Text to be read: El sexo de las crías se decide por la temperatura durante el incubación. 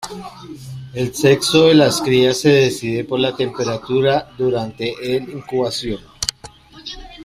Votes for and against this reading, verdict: 3, 1, accepted